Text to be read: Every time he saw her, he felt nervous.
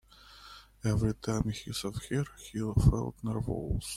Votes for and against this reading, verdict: 1, 2, rejected